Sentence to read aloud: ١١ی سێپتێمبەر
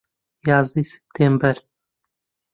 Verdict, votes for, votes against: rejected, 0, 2